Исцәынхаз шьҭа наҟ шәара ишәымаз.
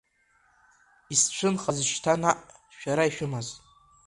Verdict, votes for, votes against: rejected, 1, 2